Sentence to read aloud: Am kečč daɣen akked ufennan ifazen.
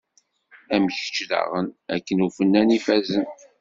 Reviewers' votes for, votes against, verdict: 1, 2, rejected